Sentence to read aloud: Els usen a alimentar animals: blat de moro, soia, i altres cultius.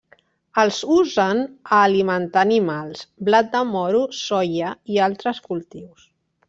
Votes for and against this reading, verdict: 1, 2, rejected